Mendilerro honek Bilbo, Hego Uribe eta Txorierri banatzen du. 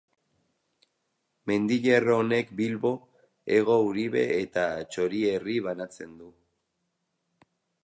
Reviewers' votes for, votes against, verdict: 0, 2, rejected